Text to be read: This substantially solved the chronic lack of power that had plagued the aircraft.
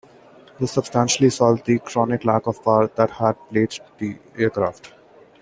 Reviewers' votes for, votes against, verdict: 2, 1, accepted